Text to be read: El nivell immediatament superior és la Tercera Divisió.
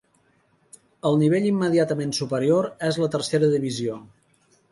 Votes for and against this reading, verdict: 5, 0, accepted